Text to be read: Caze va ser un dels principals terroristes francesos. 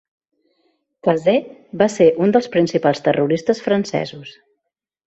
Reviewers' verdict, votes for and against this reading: accepted, 2, 0